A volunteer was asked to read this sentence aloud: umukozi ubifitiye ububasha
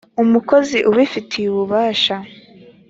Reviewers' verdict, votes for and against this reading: accepted, 2, 0